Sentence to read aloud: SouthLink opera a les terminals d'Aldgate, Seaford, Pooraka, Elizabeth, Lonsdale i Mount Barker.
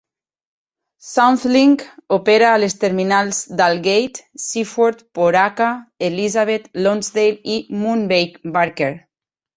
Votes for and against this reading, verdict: 0, 2, rejected